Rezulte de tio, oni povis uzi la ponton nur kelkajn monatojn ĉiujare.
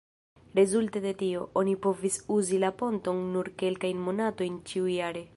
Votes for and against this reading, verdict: 2, 0, accepted